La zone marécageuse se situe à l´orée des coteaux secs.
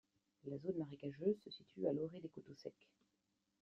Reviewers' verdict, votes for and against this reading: rejected, 0, 2